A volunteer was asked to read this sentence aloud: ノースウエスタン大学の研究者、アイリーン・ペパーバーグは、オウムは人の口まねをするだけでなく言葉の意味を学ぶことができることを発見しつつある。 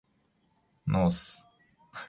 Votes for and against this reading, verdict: 1, 3, rejected